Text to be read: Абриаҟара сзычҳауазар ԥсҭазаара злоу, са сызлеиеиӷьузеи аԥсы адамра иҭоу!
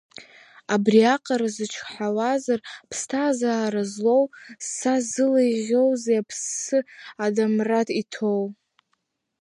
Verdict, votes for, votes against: rejected, 0, 2